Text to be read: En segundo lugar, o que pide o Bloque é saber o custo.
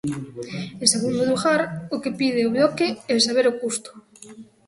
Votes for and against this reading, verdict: 0, 2, rejected